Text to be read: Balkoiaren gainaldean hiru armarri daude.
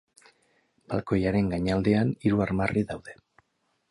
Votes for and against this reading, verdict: 4, 0, accepted